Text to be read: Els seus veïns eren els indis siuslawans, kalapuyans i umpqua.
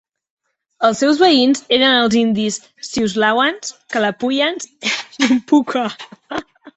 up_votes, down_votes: 2, 3